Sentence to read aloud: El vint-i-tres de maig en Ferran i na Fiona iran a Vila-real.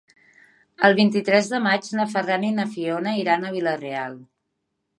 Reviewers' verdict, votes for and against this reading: rejected, 1, 2